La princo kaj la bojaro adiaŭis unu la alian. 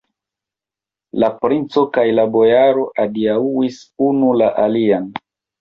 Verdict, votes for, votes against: accepted, 2, 1